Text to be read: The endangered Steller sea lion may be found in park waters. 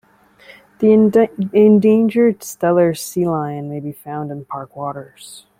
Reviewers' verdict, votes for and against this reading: rejected, 1, 2